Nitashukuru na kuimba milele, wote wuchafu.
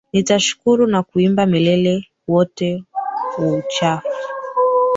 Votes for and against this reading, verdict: 0, 2, rejected